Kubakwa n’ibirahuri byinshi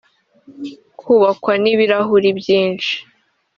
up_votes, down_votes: 1, 2